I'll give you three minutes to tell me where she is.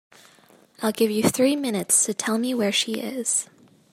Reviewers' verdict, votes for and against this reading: accepted, 2, 0